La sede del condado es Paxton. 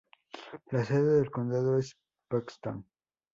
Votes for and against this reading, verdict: 2, 0, accepted